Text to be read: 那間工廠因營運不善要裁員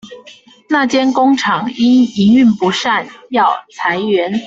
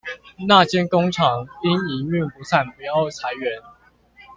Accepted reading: first